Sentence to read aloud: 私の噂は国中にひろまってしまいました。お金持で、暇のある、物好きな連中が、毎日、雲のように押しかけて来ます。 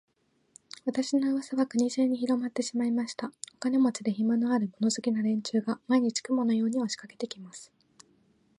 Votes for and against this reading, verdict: 2, 1, accepted